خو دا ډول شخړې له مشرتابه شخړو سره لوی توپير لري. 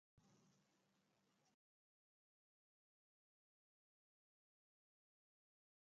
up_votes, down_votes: 2, 0